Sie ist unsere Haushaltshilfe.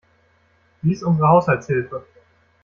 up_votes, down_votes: 1, 2